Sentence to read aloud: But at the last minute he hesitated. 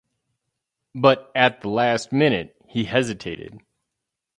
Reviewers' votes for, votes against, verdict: 2, 2, rejected